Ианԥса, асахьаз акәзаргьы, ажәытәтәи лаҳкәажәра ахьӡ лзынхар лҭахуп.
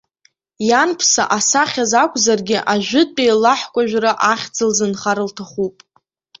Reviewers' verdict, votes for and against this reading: accepted, 2, 0